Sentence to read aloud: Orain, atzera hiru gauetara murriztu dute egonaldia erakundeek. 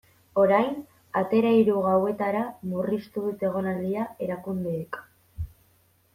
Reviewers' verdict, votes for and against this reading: rejected, 1, 2